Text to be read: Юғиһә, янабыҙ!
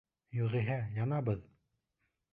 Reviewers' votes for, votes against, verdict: 2, 0, accepted